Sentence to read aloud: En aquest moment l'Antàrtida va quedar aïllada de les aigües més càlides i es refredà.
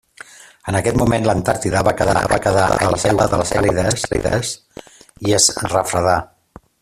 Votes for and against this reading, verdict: 0, 2, rejected